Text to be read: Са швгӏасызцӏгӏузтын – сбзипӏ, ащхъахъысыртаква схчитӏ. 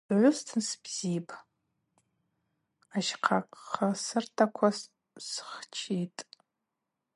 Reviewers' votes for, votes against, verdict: 0, 2, rejected